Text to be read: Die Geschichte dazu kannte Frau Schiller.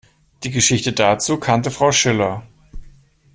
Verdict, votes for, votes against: accepted, 2, 0